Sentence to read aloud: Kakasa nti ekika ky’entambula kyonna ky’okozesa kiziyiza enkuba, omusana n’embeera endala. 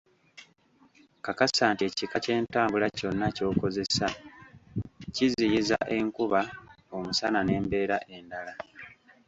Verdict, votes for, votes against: rejected, 1, 2